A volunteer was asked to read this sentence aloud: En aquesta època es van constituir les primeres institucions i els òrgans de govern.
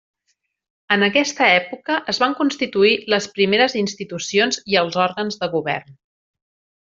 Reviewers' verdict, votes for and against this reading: accepted, 3, 0